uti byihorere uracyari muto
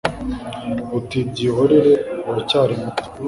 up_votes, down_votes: 2, 0